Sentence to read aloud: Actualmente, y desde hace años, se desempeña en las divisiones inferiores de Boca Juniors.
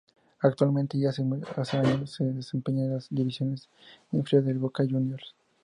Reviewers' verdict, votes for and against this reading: rejected, 0, 2